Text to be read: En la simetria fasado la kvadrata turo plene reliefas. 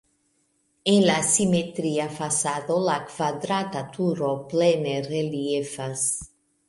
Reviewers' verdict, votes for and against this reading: accepted, 2, 1